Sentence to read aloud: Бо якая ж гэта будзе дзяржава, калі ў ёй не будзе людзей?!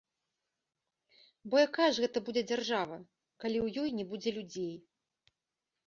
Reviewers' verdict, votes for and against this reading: accepted, 2, 0